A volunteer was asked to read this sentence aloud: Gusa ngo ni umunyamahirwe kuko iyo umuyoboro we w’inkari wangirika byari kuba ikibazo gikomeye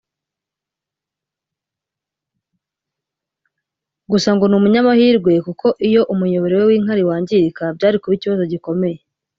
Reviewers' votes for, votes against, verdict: 0, 2, rejected